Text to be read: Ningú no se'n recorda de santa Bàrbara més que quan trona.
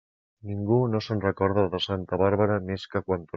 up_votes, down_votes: 0, 2